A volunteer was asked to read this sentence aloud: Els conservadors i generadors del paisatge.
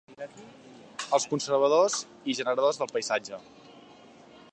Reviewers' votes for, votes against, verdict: 2, 1, accepted